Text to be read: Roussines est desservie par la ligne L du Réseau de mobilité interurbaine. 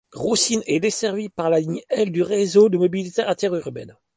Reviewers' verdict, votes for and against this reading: accepted, 3, 0